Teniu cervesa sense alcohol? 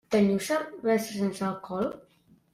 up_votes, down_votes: 1, 2